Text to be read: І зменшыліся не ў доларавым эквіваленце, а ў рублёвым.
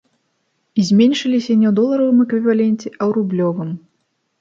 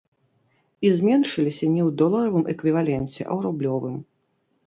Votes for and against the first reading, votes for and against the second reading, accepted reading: 3, 0, 0, 3, first